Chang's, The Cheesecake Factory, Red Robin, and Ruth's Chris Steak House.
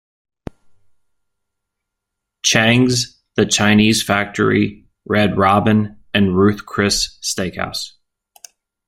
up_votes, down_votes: 0, 2